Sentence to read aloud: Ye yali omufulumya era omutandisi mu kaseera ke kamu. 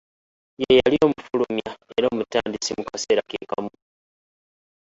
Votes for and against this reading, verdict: 0, 2, rejected